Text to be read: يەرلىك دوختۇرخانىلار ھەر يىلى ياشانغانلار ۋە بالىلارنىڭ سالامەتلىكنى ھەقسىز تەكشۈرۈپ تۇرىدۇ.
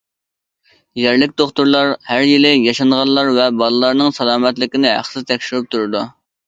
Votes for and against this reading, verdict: 0, 2, rejected